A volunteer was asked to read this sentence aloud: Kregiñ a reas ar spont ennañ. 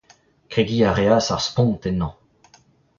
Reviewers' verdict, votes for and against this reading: accepted, 2, 0